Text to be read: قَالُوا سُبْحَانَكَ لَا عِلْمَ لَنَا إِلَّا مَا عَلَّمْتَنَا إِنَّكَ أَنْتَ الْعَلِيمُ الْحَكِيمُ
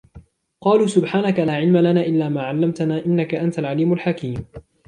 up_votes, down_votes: 2, 0